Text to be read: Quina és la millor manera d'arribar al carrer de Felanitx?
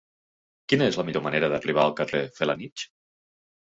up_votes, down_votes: 1, 3